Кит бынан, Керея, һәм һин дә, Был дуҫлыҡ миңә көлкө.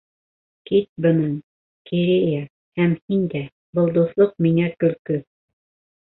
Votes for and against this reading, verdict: 1, 2, rejected